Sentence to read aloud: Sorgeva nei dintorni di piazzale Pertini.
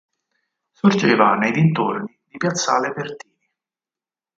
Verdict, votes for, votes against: rejected, 2, 4